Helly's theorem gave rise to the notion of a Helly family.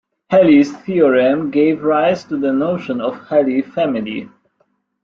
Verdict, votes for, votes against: rejected, 1, 2